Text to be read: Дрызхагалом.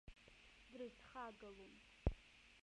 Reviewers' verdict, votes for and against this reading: rejected, 0, 2